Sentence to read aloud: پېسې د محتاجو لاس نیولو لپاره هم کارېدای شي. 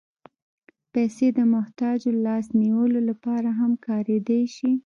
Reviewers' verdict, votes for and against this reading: accepted, 2, 0